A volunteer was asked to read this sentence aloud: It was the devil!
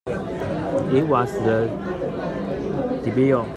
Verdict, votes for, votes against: rejected, 0, 2